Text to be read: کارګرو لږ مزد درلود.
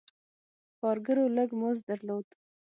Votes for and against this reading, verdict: 6, 0, accepted